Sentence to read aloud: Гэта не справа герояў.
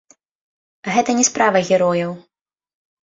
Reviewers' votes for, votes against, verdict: 0, 2, rejected